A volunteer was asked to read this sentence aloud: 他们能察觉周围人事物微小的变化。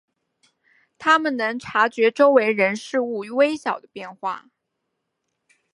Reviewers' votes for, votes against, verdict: 5, 1, accepted